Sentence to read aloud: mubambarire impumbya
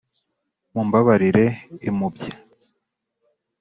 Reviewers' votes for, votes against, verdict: 0, 2, rejected